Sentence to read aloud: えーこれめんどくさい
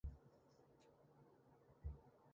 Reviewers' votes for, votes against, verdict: 0, 2, rejected